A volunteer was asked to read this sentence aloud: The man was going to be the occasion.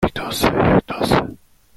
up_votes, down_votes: 0, 2